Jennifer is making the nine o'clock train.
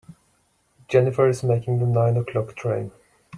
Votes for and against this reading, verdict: 2, 0, accepted